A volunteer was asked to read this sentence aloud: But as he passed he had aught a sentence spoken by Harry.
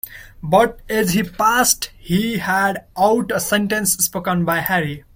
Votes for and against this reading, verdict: 0, 2, rejected